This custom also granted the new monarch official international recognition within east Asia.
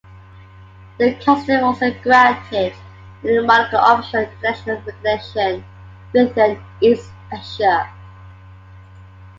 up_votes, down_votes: 1, 2